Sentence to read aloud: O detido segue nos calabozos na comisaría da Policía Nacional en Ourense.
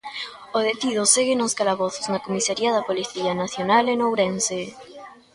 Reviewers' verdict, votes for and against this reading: accepted, 2, 0